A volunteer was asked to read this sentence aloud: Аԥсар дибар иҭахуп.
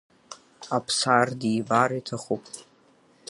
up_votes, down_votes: 6, 1